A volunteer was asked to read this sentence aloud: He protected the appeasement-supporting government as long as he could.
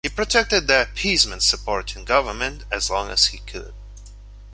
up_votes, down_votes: 2, 0